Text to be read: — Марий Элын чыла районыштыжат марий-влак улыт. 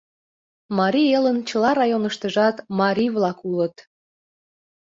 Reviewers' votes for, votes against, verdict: 2, 0, accepted